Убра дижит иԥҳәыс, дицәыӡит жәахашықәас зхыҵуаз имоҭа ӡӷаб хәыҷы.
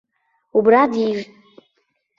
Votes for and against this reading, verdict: 0, 2, rejected